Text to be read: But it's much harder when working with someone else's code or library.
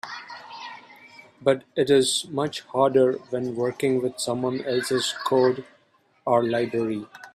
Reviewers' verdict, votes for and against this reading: rejected, 2, 3